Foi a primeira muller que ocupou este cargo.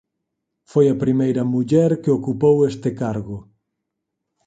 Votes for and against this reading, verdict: 4, 0, accepted